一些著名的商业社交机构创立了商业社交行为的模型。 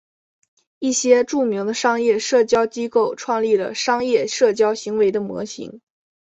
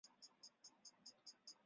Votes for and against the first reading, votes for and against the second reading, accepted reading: 3, 1, 0, 3, first